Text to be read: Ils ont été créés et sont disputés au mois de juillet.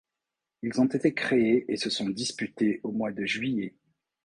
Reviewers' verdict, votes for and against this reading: rejected, 1, 2